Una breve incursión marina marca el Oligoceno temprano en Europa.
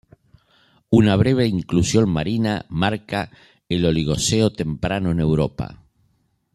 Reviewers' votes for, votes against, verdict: 1, 2, rejected